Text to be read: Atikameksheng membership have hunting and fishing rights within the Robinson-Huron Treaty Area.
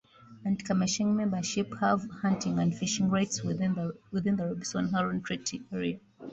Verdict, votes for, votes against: rejected, 0, 2